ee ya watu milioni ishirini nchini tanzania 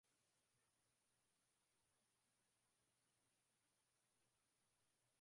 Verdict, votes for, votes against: rejected, 2, 9